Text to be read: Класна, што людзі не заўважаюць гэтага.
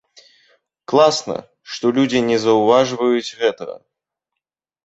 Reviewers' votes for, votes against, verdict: 1, 2, rejected